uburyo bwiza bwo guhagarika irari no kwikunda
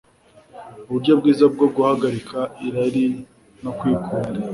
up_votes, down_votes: 1, 2